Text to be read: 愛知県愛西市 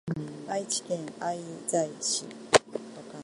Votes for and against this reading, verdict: 4, 1, accepted